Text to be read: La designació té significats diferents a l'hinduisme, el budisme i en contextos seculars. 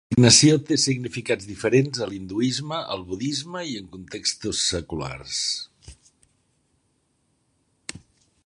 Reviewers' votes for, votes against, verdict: 0, 2, rejected